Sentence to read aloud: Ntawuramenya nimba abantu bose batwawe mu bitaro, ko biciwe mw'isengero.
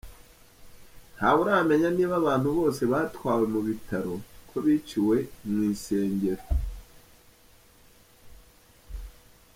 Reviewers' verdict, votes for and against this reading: accepted, 2, 0